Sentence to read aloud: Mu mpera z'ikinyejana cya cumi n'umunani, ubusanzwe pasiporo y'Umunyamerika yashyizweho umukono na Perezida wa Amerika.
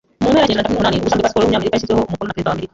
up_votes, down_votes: 0, 2